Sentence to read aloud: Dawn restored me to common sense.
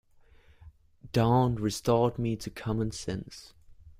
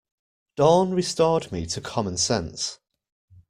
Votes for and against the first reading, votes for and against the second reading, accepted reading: 0, 2, 2, 0, second